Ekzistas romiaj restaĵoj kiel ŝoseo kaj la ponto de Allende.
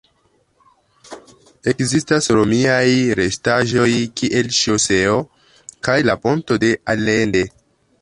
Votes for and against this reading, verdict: 1, 2, rejected